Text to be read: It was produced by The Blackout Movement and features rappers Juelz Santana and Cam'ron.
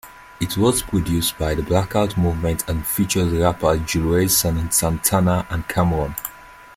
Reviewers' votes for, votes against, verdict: 2, 0, accepted